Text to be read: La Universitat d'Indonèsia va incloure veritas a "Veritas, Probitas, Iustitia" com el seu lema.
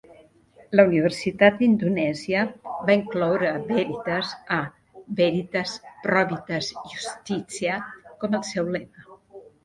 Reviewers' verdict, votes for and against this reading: rejected, 0, 2